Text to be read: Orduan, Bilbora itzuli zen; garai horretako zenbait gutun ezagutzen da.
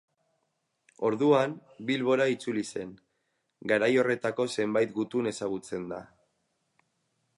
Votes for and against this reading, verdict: 4, 0, accepted